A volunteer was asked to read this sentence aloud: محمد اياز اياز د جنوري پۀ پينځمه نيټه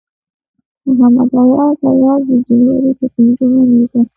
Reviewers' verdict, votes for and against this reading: rejected, 1, 2